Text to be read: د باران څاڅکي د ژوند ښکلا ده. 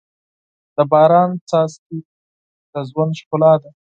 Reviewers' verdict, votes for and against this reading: accepted, 4, 0